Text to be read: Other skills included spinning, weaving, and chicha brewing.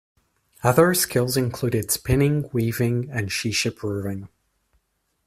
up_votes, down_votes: 2, 0